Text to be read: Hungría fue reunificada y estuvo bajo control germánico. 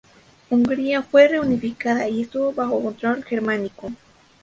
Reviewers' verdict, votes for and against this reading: rejected, 0, 2